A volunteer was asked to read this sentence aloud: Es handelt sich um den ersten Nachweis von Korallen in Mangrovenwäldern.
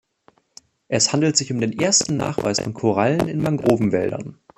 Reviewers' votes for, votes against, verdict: 1, 2, rejected